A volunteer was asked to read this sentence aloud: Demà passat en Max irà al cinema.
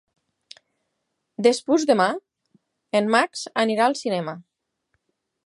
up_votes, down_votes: 0, 6